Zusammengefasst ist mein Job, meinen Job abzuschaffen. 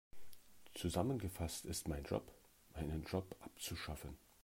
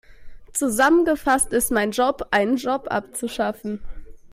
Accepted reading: first